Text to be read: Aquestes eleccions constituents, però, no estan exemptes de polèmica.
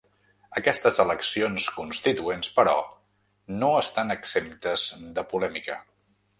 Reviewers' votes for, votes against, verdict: 3, 0, accepted